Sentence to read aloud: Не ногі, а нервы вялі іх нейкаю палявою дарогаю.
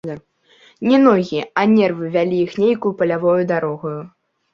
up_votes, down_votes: 1, 2